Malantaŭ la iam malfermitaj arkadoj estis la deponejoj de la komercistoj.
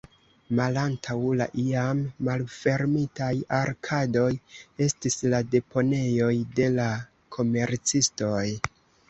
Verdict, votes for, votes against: accepted, 2, 0